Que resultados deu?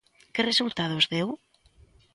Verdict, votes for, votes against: accepted, 2, 0